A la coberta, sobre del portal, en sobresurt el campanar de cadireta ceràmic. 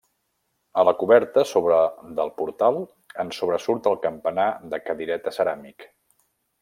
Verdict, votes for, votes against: rejected, 1, 2